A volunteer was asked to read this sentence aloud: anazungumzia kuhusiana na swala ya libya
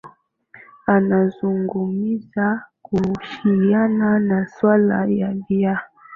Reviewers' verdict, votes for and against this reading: rejected, 1, 2